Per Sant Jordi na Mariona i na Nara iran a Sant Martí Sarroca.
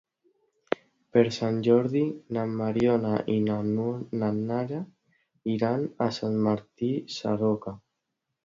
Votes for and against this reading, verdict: 1, 2, rejected